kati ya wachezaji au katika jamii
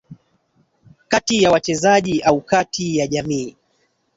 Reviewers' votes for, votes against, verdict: 1, 2, rejected